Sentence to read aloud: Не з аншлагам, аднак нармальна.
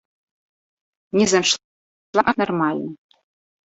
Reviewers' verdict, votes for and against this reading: rejected, 0, 2